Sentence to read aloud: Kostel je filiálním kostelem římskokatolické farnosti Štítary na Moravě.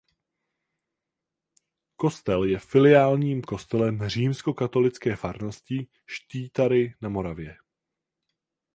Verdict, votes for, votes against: accepted, 4, 0